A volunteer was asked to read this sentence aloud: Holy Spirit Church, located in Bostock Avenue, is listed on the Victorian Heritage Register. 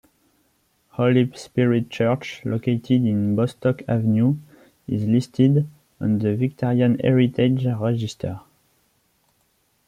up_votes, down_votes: 0, 2